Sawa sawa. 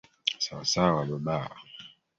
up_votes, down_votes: 0, 3